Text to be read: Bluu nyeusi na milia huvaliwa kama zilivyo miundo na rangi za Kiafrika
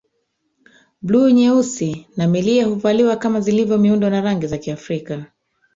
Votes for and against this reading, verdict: 1, 2, rejected